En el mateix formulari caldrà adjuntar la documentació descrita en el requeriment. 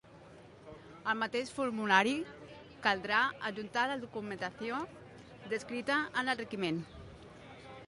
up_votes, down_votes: 2, 3